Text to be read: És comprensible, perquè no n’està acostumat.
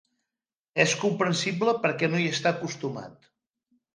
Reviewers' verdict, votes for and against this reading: rejected, 0, 2